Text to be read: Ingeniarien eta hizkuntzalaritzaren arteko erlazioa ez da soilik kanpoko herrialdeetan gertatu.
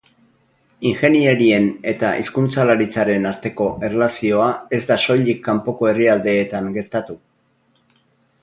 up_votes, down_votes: 0, 2